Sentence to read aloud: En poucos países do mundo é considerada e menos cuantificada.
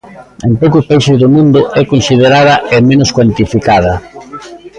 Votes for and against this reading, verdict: 2, 0, accepted